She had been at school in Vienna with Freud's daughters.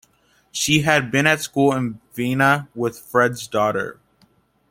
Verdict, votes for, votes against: rejected, 0, 2